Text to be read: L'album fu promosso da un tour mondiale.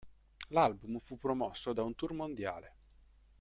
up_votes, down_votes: 2, 0